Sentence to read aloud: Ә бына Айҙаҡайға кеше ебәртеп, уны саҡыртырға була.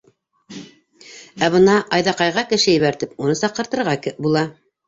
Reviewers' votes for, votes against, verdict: 0, 2, rejected